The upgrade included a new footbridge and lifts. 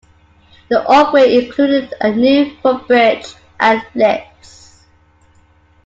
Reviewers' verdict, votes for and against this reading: rejected, 1, 2